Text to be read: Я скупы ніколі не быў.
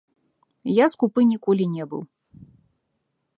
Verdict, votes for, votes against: accepted, 2, 1